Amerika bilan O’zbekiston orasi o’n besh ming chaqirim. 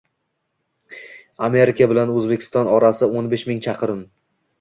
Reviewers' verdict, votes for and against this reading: accepted, 2, 0